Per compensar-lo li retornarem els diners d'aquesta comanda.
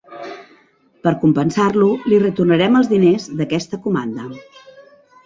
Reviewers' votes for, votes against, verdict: 3, 0, accepted